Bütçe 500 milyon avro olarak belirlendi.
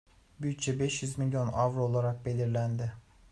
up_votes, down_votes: 0, 2